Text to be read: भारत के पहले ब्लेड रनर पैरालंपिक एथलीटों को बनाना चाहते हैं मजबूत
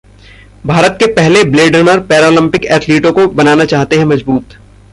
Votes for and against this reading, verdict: 1, 2, rejected